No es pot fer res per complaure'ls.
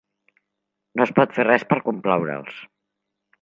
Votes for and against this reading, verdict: 2, 0, accepted